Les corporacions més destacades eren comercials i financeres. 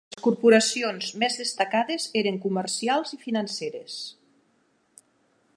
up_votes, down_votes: 0, 2